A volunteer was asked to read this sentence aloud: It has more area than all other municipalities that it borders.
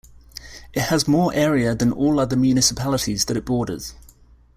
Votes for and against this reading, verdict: 2, 1, accepted